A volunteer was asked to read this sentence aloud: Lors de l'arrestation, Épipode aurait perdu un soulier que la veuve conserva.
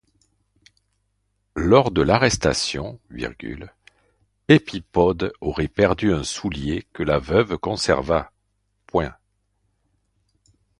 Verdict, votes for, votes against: rejected, 0, 2